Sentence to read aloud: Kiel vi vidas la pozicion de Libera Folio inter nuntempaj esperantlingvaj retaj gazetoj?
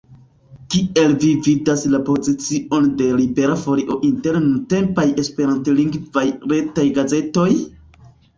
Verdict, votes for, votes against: accepted, 2, 1